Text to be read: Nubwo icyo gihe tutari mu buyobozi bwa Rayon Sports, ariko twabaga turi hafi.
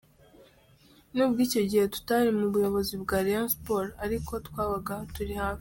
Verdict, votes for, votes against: accepted, 2, 0